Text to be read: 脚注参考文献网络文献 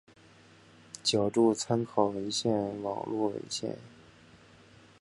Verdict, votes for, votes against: rejected, 0, 2